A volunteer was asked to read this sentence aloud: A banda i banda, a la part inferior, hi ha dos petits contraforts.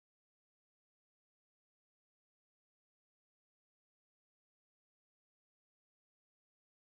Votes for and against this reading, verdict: 0, 2, rejected